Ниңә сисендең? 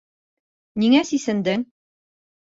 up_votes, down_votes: 2, 0